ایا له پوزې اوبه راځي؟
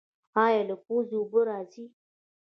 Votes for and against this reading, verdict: 2, 1, accepted